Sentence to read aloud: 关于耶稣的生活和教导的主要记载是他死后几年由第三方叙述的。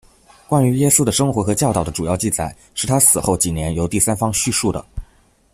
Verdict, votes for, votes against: accepted, 2, 0